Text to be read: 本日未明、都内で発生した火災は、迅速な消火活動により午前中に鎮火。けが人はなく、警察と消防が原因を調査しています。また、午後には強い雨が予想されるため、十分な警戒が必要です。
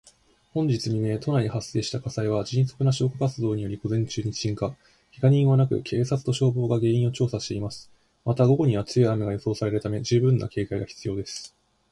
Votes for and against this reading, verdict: 1, 2, rejected